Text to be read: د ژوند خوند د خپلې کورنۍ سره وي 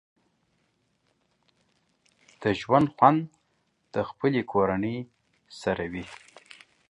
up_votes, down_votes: 2, 0